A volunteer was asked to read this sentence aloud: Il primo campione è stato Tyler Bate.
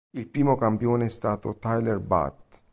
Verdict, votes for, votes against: rejected, 0, 2